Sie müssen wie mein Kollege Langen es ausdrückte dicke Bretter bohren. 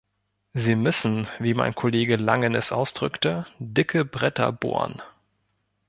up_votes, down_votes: 2, 0